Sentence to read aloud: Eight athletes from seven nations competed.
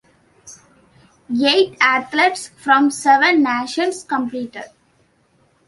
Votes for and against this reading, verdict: 0, 2, rejected